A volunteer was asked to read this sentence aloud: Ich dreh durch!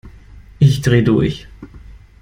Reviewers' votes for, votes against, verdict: 2, 0, accepted